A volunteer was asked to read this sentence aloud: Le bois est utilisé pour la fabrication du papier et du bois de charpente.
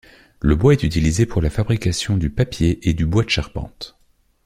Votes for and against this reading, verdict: 2, 0, accepted